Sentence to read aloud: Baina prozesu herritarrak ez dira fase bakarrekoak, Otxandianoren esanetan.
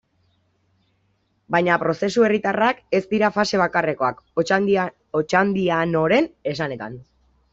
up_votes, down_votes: 1, 2